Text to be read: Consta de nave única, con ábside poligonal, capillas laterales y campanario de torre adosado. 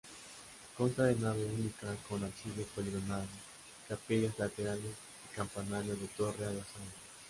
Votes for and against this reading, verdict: 0, 2, rejected